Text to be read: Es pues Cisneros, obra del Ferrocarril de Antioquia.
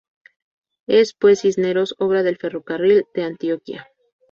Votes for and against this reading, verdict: 4, 0, accepted